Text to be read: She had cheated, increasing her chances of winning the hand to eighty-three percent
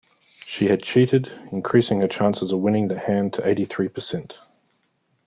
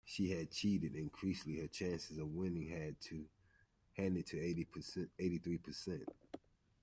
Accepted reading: first